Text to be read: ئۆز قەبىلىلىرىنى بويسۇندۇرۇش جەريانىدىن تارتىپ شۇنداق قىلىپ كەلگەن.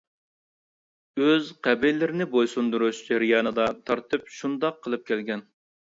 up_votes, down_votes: 1, 2